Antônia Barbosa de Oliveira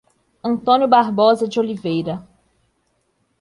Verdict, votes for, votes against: rejected, 0, 2